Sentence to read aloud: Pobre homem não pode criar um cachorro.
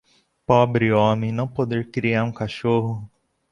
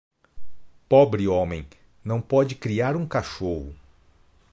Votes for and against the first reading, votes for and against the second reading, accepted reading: 0, 2, 2, 1, second